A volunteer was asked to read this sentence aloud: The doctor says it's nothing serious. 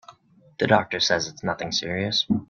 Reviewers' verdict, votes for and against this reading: accepted, 3, 0